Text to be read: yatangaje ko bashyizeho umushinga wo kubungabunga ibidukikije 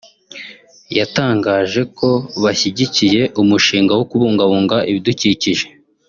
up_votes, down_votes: 1, 2